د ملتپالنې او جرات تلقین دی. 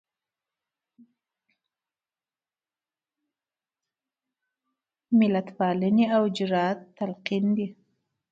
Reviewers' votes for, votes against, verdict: 0, 2, rejected